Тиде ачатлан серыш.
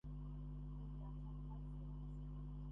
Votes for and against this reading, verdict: 0, 2, rejected